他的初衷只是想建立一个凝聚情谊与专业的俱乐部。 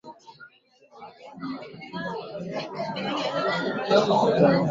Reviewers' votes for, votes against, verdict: 0, 3, rejected